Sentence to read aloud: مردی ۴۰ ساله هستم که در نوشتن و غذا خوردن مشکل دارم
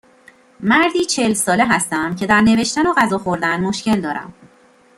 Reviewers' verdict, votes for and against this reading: rejected, 0, 2